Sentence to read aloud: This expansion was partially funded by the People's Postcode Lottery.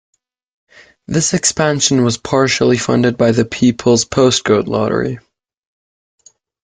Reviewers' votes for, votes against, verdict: 2, 0, accepted